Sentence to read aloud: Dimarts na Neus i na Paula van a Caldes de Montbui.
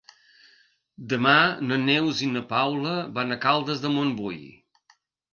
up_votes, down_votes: 0, 2